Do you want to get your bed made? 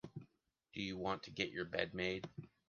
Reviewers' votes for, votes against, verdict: 2, 0, accepted